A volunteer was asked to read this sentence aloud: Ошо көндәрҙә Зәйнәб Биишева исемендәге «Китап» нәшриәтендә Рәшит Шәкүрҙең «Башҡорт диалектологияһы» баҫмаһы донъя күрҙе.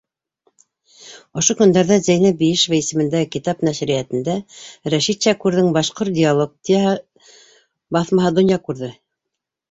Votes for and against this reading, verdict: 1, 2, rejected